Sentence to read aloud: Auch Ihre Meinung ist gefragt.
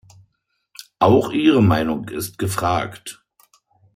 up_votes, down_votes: 2, 0